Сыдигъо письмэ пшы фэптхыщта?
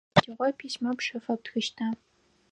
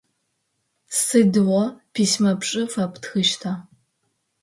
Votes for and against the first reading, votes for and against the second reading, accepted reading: 2, 4, 5, 1, second